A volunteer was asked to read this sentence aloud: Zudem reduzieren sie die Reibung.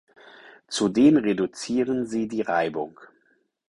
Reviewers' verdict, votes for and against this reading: accepted, 4, 0